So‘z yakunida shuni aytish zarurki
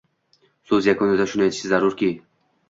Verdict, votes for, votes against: rejected, 1, 2